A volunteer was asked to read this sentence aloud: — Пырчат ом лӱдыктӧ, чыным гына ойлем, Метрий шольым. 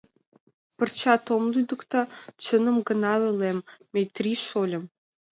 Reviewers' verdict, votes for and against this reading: accepted, 2, 0